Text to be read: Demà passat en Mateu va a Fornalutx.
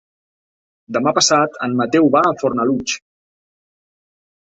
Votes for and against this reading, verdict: 3, 0, accepted